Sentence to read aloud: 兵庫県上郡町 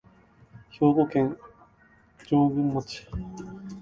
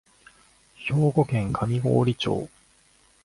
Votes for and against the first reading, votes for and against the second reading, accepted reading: 0, 2, 3, 0, second